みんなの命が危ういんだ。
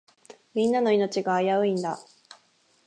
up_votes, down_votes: 6, 0